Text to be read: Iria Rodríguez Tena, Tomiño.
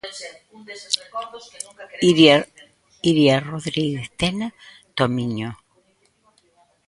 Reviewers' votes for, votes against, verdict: 0, 2, rejected